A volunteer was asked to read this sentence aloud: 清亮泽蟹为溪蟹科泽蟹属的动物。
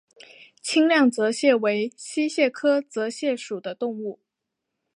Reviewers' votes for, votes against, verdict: 2, 0, accepted